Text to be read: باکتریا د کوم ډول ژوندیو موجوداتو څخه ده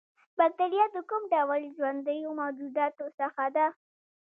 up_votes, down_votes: 2, 0